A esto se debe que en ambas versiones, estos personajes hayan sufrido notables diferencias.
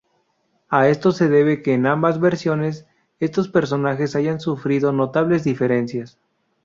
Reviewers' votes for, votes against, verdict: 2, 0, accepted